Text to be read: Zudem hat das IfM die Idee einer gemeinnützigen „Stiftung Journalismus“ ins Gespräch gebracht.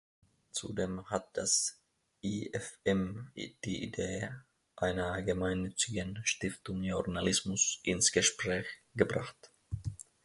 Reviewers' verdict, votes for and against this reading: rejected, 1, 2